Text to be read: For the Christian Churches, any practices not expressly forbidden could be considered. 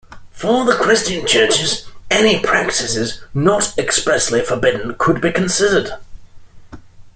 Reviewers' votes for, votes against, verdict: 2, 0, accepted